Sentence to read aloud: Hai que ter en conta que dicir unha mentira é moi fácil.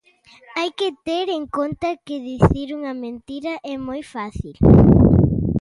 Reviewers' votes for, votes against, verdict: 2, 0, accepted